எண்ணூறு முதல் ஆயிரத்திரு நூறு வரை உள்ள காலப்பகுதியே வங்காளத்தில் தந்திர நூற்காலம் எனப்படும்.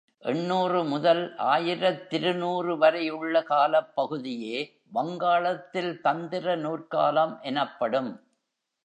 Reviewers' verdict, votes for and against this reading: rejected, 0, 2